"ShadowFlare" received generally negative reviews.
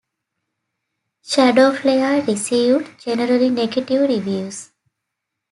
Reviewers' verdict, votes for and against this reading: accepted, 2, 0